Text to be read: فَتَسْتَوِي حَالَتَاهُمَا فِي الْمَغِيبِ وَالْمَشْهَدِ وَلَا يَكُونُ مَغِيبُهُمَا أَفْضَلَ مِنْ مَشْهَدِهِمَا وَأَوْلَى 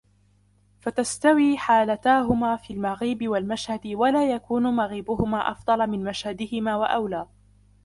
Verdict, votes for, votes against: accepted, 2, 1